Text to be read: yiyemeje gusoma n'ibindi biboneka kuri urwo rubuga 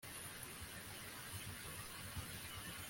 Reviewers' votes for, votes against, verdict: 1, 2, rejected